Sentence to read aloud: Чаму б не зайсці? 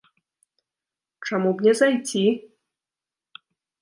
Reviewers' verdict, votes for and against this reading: rejected, 0, 2